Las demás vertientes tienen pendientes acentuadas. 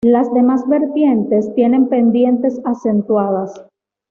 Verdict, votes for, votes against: accepted, 2, 1